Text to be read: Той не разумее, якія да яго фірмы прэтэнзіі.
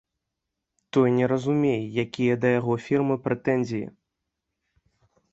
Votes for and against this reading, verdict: 2, 1, accepted